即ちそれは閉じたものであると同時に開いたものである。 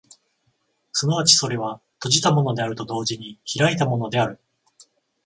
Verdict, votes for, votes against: accepted, 14, 0